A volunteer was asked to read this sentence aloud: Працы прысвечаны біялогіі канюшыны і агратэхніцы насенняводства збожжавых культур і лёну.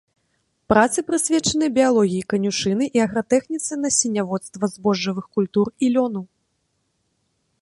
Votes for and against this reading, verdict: 2, 0, accepted